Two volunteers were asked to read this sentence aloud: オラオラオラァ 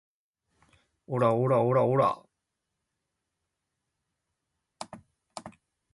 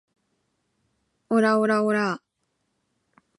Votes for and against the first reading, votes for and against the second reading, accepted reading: 9, 10, 2, 0, second